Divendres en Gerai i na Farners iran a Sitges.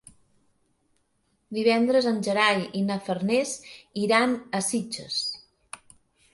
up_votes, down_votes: 4, 0